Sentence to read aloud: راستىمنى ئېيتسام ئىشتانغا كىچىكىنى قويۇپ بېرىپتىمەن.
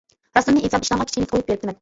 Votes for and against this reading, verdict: 0, 2, rejected